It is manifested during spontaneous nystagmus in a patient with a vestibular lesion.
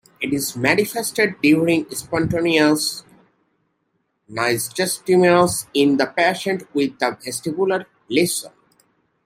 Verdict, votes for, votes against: rejected, 0, 2